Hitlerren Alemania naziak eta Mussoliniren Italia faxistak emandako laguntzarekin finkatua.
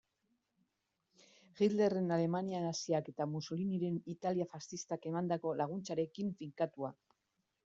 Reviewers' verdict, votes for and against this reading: accepted, 2, 0